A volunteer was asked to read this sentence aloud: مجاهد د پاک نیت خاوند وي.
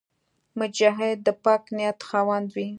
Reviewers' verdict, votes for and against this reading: accepted, 2, 0